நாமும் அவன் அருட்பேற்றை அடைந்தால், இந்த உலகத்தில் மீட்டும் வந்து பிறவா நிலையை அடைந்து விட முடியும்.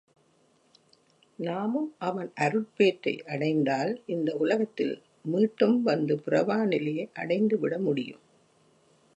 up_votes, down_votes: 2, 0